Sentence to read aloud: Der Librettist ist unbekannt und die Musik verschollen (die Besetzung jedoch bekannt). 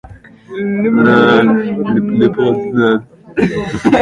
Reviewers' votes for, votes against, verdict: 0, 2, rejected